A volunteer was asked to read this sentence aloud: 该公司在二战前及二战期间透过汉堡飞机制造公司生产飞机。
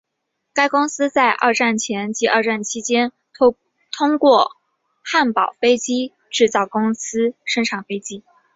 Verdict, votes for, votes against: accepted, 3, 0